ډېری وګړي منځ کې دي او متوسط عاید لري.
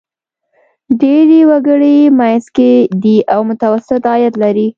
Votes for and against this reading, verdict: 2, 1, accepted